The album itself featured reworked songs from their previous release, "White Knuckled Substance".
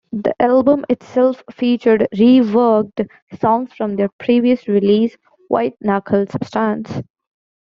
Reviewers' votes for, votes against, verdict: 0, 2, rejected